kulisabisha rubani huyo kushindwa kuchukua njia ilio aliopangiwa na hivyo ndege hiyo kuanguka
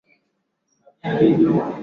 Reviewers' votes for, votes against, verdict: 0, 2, rejected